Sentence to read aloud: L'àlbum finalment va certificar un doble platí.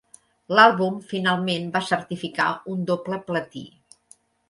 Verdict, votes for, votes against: accepted, 4, 0